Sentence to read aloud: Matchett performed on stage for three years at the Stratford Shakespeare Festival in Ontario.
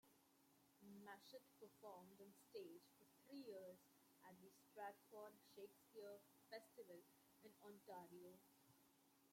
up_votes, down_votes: 0, 2